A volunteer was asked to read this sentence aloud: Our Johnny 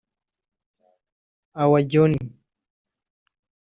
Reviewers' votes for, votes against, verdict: 1, 3, rejected